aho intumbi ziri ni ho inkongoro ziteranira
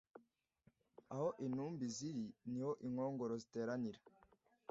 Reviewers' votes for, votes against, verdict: 2, 0, accepted